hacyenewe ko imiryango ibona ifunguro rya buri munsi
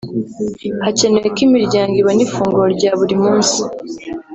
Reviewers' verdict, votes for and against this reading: accepted, 3, 0